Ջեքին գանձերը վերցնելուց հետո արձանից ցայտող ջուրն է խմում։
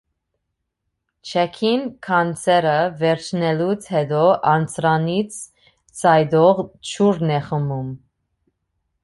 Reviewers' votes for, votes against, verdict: 0, 2, rejected